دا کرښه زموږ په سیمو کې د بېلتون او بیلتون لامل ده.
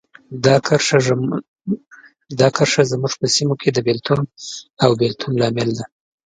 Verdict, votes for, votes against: rejected, 1, 2